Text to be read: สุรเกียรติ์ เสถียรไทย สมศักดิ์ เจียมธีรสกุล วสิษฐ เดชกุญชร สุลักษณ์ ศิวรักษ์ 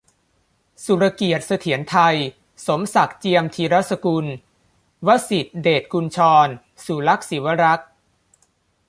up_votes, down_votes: 2, 0